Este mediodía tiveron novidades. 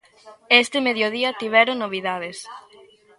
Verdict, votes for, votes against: rejected, 0, 2